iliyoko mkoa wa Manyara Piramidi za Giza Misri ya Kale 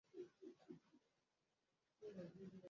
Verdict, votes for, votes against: rejected, 0, 2